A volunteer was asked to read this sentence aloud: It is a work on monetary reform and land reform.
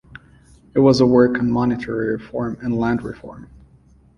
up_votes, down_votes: 0, 2